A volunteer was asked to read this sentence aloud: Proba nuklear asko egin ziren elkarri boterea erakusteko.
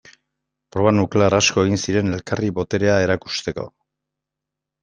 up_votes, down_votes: 2, 0